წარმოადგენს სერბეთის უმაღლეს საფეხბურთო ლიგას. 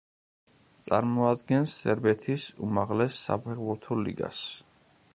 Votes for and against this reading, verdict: 2, 1, accepted